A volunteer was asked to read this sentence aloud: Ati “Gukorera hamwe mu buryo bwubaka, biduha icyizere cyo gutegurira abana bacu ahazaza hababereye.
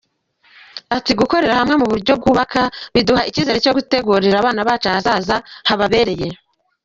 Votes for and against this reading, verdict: 2, 1, accepted